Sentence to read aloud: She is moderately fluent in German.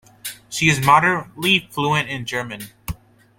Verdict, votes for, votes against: accepted, 2, 1